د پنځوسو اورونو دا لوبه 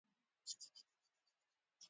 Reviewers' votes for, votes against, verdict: 0, 2, rejected